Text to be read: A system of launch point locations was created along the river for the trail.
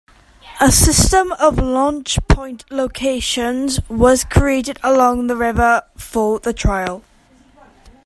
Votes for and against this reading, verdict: 2, 1, accepted